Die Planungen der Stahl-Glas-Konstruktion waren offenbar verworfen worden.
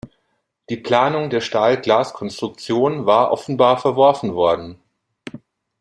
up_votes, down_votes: 1, 2